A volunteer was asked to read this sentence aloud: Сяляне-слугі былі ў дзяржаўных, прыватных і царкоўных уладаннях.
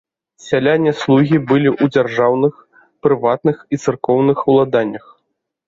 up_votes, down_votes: 2, 0